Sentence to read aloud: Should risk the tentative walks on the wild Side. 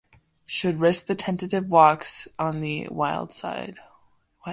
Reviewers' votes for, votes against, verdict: 0, 2, rejected